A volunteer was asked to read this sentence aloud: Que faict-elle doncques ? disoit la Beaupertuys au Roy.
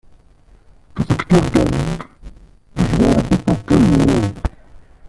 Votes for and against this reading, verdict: 0, 2, rejected